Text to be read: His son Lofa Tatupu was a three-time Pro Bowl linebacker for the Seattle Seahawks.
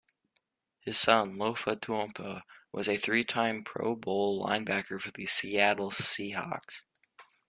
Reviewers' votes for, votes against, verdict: 2, 1, accepted